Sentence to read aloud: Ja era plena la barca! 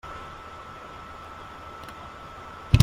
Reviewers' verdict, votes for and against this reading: rejected, 1, 3